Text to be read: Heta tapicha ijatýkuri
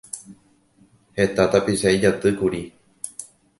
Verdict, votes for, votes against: accepted, 2, 0